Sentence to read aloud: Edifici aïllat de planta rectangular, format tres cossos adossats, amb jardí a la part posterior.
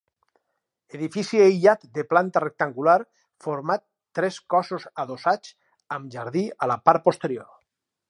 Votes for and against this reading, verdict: 4, 0, accepted